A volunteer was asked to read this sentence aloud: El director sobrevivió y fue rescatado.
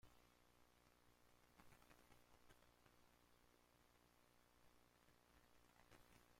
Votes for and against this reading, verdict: 0, 2, rejected